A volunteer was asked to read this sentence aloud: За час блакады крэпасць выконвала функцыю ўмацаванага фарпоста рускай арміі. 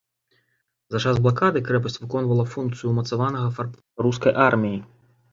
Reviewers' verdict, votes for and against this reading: rejected, 1, 2